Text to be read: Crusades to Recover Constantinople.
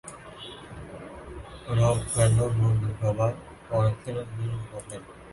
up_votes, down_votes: 0, 2